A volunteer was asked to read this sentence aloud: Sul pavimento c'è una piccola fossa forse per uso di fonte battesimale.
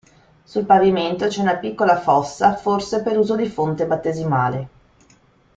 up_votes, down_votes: 2, 0